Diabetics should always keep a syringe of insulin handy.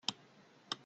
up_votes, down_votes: 0, 2